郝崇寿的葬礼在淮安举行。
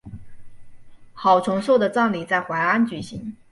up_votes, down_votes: 3, 0